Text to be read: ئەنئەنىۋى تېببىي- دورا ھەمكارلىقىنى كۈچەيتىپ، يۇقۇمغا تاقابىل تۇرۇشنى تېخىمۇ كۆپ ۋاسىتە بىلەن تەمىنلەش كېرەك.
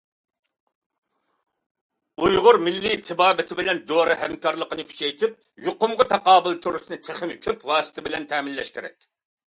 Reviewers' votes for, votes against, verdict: 0, 2, rejected